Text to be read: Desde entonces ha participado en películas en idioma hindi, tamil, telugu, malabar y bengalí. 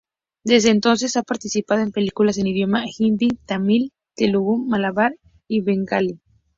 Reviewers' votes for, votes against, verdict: 2, 0, accepted